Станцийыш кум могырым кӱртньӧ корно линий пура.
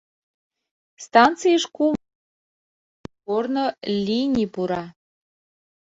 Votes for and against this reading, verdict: 0, 2, rejected